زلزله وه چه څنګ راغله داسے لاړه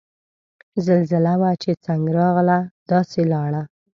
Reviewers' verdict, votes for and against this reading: rejected, 0, 2